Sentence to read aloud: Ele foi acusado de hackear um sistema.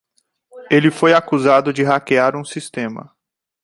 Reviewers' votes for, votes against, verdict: 2, 0, accepted